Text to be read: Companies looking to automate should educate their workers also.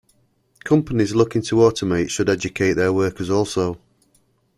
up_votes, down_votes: 2, 0